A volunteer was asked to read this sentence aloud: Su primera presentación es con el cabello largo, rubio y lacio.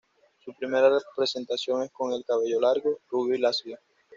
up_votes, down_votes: 1, 2